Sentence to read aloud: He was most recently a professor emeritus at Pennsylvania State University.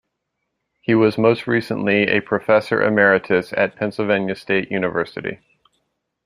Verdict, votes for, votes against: accepted, 2, 0